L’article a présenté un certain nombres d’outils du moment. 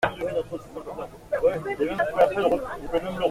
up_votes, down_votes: 0, 2